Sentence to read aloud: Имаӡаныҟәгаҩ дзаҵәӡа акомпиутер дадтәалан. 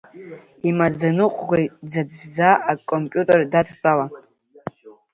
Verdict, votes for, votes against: accepted, 2, 0